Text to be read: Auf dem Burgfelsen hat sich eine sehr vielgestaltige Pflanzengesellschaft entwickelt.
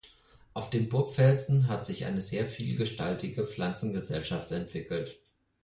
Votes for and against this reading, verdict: 4, 0, accepted